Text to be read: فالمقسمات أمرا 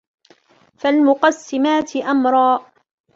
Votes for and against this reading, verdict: 2, 1, accepted